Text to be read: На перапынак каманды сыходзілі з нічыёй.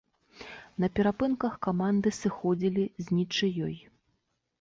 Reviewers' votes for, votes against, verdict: 2, 3, rejected